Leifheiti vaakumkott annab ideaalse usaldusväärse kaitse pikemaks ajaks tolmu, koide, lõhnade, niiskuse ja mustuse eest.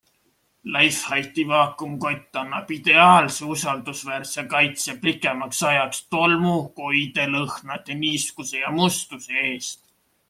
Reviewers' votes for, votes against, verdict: 2, 0, accepted